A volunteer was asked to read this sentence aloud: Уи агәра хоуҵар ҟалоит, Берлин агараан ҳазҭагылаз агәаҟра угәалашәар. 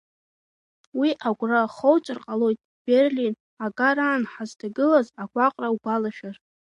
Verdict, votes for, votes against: accepted, 2, 1